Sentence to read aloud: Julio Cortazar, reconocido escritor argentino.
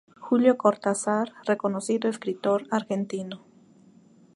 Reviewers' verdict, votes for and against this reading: accepted, 4, 0